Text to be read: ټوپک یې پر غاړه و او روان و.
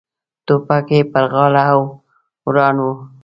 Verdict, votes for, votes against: rejected, 1, 2